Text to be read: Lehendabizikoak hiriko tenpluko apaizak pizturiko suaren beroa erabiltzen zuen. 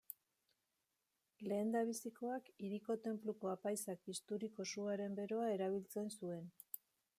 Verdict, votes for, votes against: rejected, 1, 2